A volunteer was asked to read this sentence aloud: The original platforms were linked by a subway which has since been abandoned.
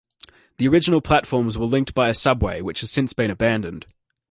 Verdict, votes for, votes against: accepted, 2, 0